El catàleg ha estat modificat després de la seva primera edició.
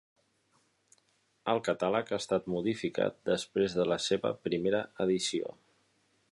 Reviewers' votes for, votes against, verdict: 2, 0, accepted